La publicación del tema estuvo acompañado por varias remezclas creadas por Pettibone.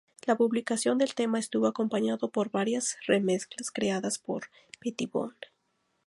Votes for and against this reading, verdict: 4, 0, accepted